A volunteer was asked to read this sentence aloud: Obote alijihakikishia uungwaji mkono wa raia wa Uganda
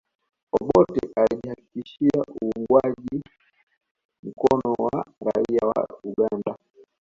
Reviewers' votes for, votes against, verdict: 2, 1, accepted